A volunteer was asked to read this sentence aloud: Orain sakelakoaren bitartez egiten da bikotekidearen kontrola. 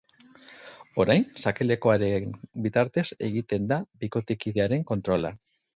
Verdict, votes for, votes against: rejected, 0, 2